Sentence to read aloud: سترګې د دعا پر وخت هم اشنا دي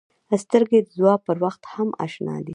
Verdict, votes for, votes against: rejected, 0, 2